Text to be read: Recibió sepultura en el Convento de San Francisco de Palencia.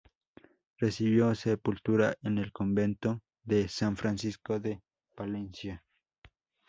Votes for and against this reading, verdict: 2, 0, accepted